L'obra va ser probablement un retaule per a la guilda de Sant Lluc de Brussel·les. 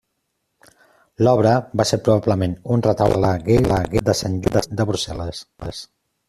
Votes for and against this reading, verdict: 0, 2, rejected